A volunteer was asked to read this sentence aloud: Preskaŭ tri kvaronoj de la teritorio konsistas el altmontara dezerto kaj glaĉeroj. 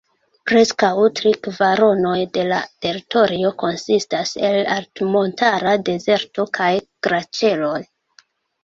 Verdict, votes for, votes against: rejected, 0, 2